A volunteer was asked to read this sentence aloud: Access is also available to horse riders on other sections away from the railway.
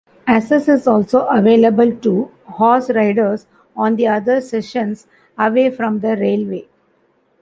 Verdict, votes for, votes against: rejected, 1, 2